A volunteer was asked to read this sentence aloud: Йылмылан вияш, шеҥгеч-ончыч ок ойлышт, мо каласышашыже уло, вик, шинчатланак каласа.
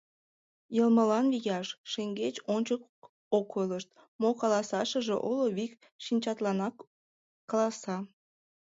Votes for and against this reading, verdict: 2, 1, accepted